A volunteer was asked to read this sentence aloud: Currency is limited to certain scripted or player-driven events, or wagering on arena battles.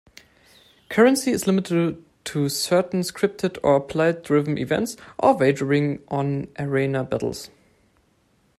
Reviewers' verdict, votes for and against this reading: rejected, 1, 2